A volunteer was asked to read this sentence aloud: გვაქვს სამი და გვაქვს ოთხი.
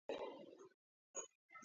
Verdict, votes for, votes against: rejected, 0, 2